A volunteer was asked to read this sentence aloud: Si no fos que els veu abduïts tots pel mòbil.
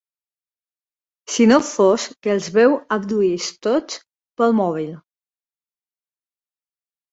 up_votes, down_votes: 2, 0